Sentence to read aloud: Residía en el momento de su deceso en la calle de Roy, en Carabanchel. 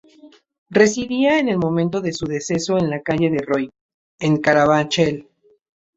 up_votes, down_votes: 2, 0